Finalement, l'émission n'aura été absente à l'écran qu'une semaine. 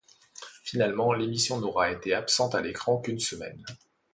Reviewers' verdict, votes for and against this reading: accepted, 2, 0